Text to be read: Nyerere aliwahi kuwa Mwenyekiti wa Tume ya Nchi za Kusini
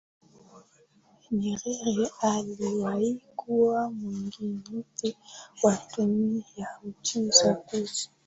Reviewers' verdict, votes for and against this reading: rejected, 0, 2